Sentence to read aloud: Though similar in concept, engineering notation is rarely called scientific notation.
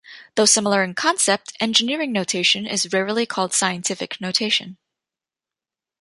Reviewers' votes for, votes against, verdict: 2, 0, accepted